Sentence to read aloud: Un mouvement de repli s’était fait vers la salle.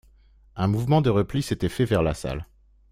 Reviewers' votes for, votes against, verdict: 2, 0, accepted